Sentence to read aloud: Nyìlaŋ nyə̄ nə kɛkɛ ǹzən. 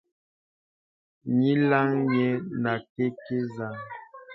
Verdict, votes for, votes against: rejected, 0, 2